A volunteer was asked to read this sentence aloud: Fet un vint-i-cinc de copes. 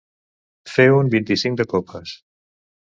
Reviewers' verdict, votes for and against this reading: rejected, 0, 2